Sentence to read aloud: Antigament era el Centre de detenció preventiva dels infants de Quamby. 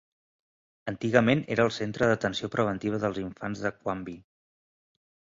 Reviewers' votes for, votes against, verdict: 1, 2, rejected